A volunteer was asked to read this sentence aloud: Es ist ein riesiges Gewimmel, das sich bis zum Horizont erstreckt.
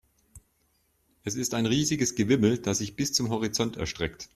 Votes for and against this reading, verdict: 2, 0, accepted